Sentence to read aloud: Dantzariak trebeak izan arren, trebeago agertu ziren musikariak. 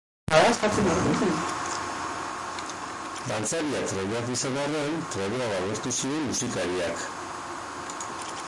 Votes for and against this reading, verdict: 0, 4, rejected